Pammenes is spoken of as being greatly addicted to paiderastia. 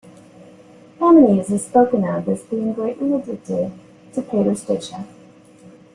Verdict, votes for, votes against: rejected, 1, 2